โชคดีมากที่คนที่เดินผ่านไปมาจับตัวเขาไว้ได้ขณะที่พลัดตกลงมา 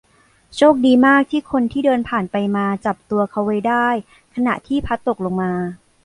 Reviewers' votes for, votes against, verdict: 1, 2, rejected